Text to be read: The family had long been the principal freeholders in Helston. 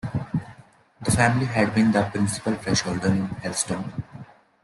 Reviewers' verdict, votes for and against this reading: accepted, 2, 1